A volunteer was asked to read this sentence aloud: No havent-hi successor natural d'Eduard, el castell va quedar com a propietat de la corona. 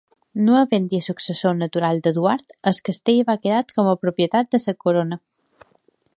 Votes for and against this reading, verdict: 2, 1, accepted